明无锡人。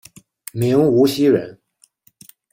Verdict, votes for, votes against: rejected, 1, 2